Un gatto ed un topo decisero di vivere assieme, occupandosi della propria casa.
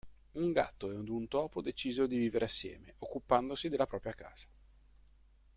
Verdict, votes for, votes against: rejected, 1, 2